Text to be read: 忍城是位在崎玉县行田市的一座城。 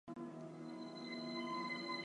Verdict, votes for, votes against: rejected, 0, 2